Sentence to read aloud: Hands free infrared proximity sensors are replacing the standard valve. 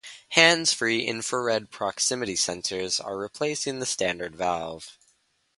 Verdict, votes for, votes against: accepted, 4, 0